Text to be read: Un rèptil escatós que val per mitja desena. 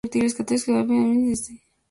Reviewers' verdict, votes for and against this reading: rejected, 0, 2